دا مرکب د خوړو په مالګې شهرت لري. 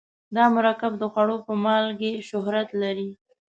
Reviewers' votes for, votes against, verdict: 2, 0, accepted